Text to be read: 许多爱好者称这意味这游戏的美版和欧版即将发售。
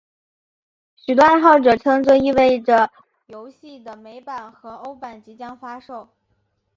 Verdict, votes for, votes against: rejected, 0, 2